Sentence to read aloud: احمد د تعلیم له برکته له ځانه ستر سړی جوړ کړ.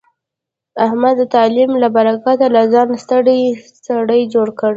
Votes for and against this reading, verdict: 1, 2, rejected